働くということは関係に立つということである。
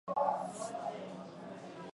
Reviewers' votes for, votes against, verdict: 0, 4, rejected